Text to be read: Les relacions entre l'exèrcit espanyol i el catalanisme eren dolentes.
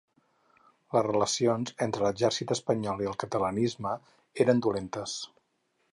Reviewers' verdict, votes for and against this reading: accepted, 4, 0